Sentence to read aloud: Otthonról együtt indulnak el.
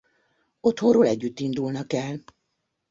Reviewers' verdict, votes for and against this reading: accepted, 2, 0